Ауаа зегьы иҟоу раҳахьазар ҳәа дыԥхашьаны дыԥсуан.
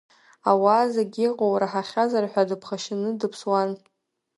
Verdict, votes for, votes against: accepted, 3, 0